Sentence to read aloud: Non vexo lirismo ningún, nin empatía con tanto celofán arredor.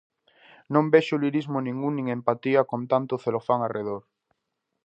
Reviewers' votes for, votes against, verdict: 2, 0, accepted